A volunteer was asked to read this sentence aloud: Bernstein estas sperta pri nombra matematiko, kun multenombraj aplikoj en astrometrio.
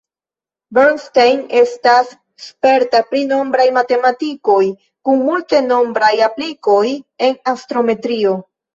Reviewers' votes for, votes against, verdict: 0, 2, rejected